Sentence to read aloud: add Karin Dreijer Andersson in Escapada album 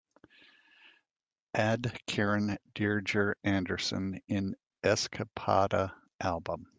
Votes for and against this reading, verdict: 2, 0, accepted